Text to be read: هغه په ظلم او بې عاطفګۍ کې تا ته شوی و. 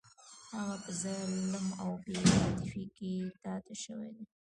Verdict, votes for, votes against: rejected, 1, 2